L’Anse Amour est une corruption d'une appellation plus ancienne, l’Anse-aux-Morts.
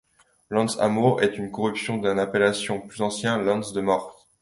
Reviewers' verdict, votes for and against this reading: rejected, 1, 2